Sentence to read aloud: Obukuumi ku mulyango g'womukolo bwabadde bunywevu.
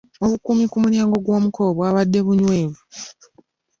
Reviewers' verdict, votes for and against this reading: accepted, 2, 1